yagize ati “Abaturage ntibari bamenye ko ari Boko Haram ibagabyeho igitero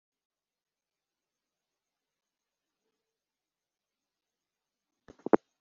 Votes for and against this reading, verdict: 0, 2, rejected